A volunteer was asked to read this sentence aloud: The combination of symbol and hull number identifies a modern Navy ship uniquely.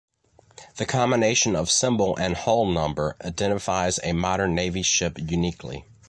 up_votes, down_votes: 2, 0